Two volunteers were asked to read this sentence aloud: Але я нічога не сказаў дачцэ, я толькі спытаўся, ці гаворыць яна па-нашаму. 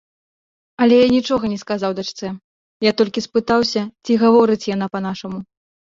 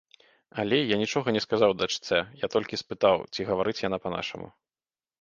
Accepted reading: first